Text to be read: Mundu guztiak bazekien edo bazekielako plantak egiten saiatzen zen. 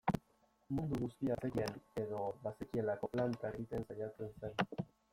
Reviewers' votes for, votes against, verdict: 0, 2, rejected